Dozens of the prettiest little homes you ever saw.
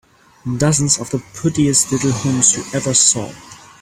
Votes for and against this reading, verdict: 3, 4, rejected